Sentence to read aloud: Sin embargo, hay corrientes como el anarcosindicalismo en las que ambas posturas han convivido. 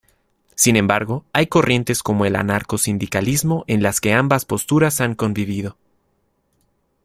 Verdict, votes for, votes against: accepted, 2, 0